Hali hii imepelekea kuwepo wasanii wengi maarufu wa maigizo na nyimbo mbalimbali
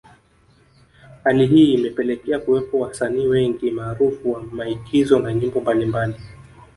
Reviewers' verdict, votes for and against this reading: rejected, 1, 2